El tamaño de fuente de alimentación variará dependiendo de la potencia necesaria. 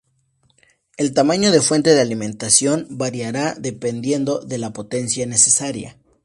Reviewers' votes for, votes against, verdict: 2, 0, accepted